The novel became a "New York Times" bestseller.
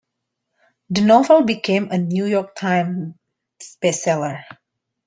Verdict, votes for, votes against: accepted, 2, 1